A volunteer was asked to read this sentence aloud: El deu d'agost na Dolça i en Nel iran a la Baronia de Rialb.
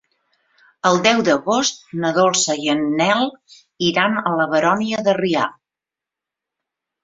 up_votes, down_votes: 0, 2